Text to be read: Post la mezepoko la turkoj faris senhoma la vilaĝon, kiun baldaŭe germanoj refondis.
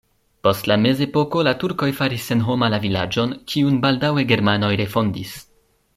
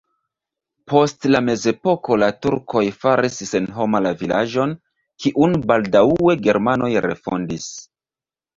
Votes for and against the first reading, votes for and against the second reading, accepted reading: 2, 0, 1, 2, first